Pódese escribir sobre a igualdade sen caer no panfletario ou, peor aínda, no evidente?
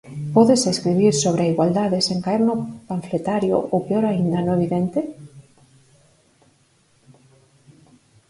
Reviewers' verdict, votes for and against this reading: rejected, 0, 4